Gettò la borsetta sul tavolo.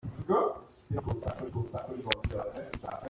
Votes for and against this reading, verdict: 0, 2, rejected